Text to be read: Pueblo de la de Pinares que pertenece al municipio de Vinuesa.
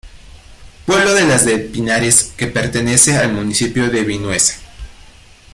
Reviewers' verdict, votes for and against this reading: rejected, 1, 2